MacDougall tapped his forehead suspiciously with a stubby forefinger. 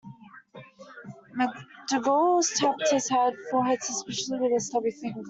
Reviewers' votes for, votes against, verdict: 0, 2, rejected